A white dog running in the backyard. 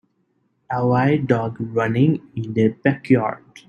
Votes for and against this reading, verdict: 3, 0, accepted